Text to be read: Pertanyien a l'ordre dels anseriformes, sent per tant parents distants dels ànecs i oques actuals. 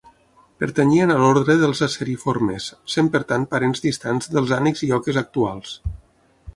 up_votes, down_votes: 0, 6